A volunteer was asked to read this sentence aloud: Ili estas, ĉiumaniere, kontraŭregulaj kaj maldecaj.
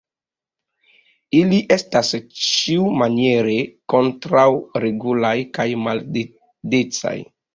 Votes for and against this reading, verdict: 0, 2, rejected